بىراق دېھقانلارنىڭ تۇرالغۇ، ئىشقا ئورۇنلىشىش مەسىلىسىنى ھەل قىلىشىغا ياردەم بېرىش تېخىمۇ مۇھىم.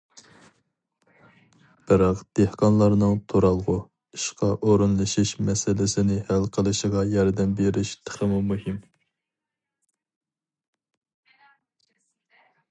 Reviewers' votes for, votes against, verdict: 2, 0, accepted